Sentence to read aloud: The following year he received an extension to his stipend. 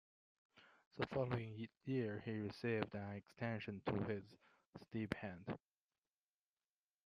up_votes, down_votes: 2, 0